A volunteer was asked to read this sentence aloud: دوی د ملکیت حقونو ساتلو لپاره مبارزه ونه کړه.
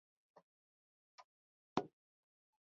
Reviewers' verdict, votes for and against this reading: rejected, 0, 2